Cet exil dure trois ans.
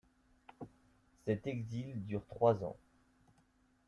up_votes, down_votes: 0, 2